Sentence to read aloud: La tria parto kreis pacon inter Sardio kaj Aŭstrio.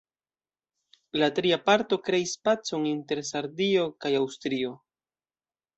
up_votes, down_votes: 2, 0